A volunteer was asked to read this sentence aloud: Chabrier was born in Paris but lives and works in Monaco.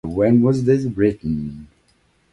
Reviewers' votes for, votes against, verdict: 0, 2, rejected